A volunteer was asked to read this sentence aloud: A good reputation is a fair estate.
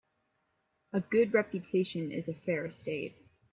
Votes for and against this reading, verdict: 2, 0, accepted